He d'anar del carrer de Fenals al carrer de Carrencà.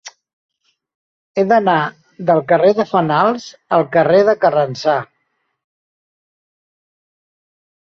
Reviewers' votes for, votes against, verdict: 0, 2, rejected